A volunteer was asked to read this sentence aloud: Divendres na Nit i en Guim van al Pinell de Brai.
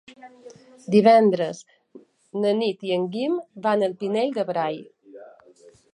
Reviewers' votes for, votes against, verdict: 3, 0, accepted